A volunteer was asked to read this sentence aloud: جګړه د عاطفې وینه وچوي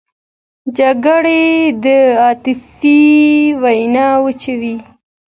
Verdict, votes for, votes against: accepted, 2, 0